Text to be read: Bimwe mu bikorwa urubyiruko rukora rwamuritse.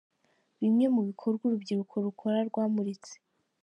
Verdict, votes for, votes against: accepted, 2, 0